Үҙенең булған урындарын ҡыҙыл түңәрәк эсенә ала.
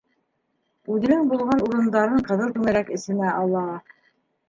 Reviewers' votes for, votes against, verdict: 0, 2, rejected